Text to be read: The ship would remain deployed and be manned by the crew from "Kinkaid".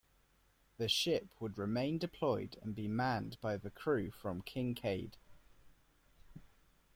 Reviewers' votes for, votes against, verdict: 3, 0, accepted